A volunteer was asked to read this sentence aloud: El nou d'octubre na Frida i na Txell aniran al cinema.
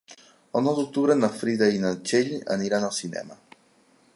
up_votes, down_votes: 3, 0